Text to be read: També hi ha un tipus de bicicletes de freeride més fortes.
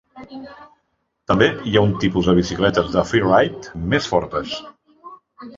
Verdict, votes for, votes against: rejected, 0, 2